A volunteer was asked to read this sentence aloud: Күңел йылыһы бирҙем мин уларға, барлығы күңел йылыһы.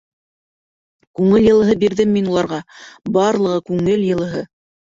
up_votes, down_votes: 1, 2